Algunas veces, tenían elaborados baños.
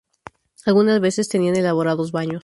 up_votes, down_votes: 0, 2